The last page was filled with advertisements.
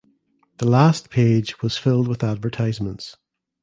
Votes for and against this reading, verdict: 2, 0, accepted